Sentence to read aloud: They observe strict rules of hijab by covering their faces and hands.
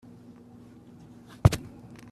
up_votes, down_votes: 1, 2